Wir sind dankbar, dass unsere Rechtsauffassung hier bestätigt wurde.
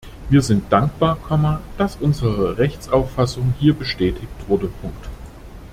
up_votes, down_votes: 0, 2